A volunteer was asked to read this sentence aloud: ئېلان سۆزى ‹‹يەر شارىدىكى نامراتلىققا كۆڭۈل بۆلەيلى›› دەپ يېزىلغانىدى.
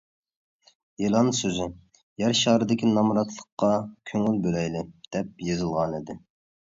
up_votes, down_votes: 2, 0